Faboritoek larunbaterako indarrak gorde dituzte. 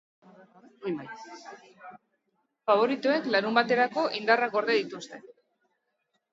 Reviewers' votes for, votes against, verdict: 2, 0, accepted